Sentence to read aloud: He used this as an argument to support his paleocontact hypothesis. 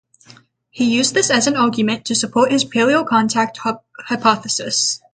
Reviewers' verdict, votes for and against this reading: rejected, 0, 3